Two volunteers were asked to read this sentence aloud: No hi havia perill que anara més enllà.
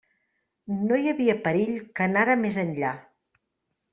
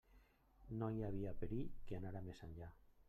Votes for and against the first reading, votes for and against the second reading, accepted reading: 3, 0, 1, 2, first